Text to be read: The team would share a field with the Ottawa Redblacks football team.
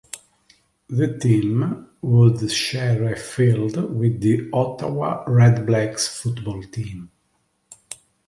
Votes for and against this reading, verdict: 2, 0, accepted